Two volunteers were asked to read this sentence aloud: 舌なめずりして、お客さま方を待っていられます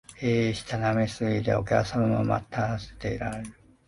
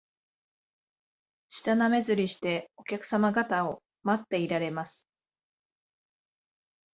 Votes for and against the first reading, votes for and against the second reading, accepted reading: 1, 2, 2, 0, second